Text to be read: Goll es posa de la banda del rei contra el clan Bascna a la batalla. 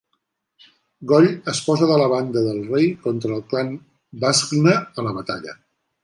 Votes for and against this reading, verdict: 2, 1, accepted